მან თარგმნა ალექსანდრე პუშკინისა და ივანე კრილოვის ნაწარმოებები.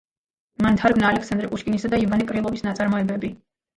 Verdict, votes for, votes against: rejected, 1, 2